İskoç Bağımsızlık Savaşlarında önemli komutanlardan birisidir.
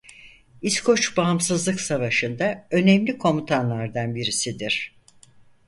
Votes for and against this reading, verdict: 0, 4, rejected